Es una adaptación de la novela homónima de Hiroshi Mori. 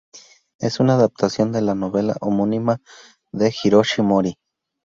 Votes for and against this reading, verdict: 2, 0, accepted